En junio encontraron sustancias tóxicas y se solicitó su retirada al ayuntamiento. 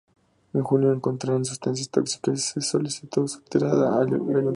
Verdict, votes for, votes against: rejected, 0, 2